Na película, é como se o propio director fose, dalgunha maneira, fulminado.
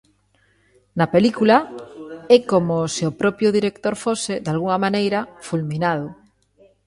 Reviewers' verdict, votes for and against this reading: rejected, 0, 2